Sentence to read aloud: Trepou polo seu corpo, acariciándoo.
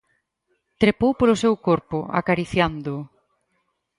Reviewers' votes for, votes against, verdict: 4, 0, accepted